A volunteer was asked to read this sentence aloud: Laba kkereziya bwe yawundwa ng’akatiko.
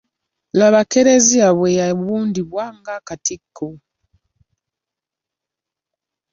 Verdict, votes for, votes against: rejected, 1, 2